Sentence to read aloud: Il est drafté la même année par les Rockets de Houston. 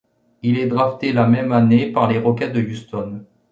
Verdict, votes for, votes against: accepted, 2, 0